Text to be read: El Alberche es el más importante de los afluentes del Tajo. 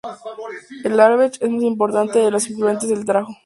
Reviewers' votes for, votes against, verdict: 2, 0, accepted